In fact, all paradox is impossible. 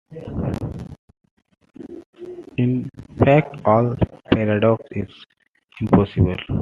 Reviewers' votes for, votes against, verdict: 2, 0, accepted